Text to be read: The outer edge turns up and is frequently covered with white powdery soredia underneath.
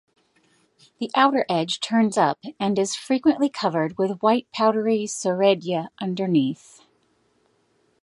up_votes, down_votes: 2, 0